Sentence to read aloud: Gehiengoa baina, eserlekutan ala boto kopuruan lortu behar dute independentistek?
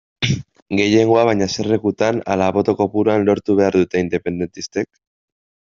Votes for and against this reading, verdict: 2, 0, accepted